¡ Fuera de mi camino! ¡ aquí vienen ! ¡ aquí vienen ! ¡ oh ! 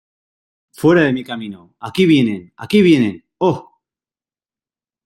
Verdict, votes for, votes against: accepted, 2, 0